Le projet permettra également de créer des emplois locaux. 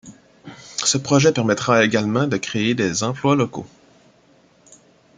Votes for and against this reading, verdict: 1, 2, rejected